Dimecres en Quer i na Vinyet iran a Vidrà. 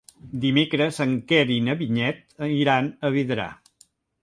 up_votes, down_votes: 1, 2